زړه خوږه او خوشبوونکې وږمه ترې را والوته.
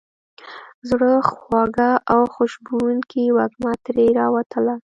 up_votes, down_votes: 1, 2